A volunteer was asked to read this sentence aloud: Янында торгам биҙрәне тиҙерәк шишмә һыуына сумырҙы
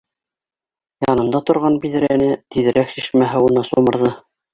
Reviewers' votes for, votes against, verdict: 2, 0, accepted